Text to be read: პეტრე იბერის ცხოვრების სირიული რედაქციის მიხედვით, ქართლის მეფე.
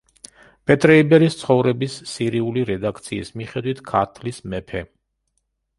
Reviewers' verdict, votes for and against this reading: accepted, 2, 0